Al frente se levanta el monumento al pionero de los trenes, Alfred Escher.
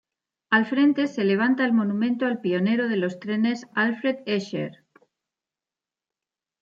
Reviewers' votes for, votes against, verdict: 0, 2, rejected